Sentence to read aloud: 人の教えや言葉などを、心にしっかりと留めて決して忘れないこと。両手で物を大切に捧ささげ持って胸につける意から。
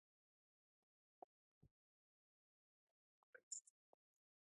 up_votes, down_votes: 2, 0